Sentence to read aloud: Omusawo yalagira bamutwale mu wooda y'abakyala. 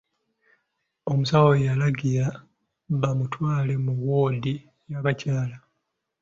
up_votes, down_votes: 1, 2